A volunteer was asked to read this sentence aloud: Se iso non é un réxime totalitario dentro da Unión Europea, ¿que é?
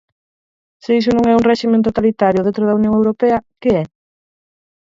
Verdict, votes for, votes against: rejected, 2, 4